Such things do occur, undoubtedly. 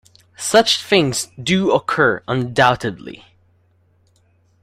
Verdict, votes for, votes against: accepted, 2, 0